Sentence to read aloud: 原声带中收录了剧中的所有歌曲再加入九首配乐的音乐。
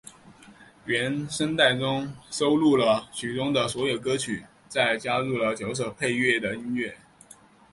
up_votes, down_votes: 2, 0